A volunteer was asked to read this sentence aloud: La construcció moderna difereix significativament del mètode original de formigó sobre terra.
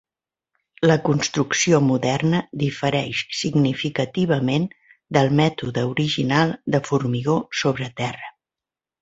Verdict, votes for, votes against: accepted, 3, 0